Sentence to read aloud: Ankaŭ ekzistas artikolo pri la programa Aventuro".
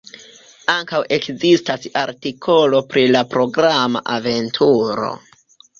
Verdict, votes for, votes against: rejected, 1, 2